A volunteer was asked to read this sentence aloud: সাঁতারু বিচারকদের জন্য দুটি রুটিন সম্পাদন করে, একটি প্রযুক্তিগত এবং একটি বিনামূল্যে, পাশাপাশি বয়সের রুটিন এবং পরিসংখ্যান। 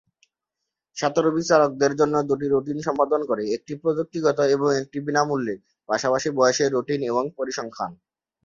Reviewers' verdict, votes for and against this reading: accepted, 4, 1